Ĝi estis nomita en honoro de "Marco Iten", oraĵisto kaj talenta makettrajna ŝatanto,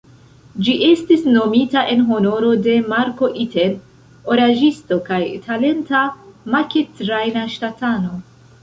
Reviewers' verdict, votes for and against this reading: accepted, 2, 0